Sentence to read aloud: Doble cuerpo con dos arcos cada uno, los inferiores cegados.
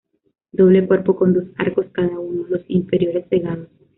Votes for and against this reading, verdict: 1, 2, rejected